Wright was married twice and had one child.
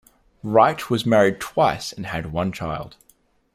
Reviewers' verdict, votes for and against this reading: accepted, 2, 0